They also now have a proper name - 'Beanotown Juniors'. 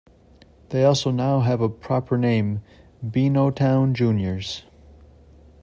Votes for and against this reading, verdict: 2, 0, accepted